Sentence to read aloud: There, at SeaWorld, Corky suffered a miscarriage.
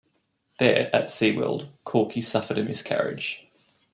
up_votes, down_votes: 2, 1